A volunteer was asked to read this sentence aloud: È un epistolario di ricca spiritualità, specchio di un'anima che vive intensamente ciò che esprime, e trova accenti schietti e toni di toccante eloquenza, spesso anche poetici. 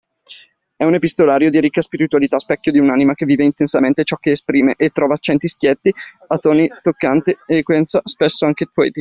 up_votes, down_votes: 1, 2